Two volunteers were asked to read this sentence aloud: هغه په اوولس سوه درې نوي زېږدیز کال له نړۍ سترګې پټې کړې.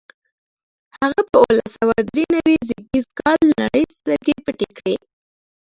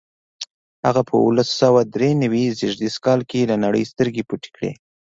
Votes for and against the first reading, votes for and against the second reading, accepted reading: 1, 2, 2, 0, second